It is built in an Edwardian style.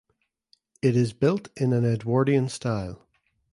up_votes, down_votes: 2, 0